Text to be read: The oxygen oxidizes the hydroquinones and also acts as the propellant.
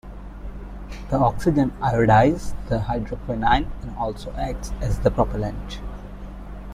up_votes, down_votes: 0, 2